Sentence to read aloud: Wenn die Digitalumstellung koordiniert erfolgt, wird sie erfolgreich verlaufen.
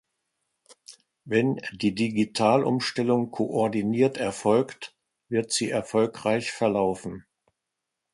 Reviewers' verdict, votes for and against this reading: accepted, 2, 0